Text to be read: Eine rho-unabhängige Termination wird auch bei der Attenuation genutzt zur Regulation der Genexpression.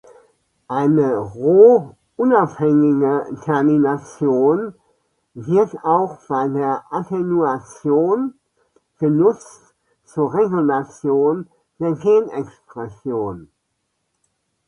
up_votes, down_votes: 2, 0